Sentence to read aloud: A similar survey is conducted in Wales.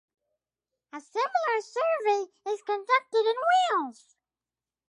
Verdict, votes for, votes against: rejected, 2, 2